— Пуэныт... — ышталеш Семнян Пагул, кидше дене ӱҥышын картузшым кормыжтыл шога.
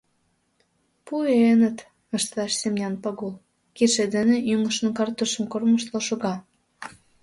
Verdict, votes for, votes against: rejected, 0, 2